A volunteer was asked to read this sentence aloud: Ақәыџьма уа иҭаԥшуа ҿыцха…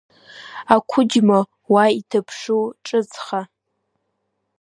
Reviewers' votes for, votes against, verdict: 0, 2, rejected